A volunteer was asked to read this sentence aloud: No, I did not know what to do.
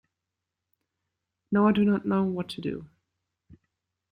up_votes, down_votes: 1, 2